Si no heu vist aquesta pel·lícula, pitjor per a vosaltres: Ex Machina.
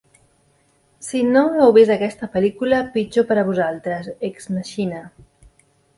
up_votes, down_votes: 2, 1